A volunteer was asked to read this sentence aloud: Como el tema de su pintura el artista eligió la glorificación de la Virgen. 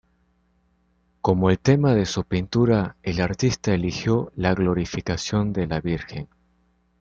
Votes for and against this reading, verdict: 2, 0, accepted